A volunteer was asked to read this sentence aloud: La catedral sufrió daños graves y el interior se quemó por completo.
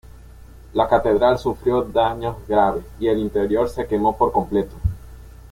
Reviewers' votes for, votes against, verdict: 2, 0, accepted